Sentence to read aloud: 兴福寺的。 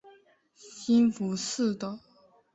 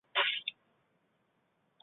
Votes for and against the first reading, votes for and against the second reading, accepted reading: 3, 0, 0, 2, first